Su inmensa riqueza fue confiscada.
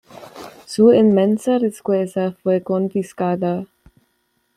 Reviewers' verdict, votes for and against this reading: rejected, 1, 2